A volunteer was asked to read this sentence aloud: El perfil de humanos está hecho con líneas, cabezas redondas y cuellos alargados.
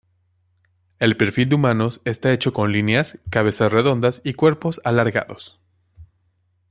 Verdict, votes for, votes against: rejected, 0, 2